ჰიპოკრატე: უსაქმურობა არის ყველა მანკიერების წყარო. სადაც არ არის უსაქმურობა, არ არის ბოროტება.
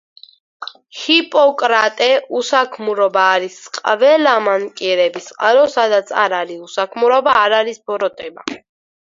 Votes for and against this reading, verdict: 4, 2, accepted